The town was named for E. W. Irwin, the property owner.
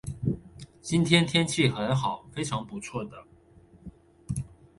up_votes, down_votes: 0, 2